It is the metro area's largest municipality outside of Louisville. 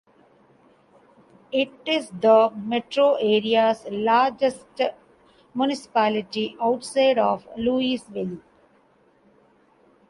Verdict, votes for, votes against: accepted, 2, 1